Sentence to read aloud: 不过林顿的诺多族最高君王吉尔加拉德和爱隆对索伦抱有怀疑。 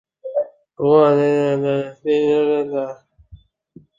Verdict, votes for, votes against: rejected, 0, 2